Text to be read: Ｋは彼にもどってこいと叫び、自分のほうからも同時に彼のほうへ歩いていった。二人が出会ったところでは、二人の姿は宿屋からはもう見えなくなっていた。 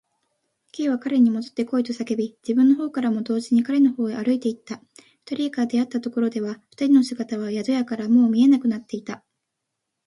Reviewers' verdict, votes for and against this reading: accepted, 2, 0